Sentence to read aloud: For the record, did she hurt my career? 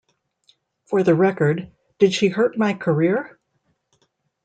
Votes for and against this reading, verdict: 2, 0, accepted